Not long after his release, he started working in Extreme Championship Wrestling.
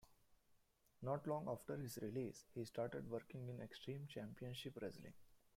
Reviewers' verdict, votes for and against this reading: rejected, 1, 2